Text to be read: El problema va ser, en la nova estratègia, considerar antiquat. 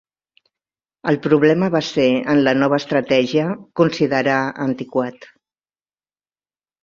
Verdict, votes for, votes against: accepted, 2, 0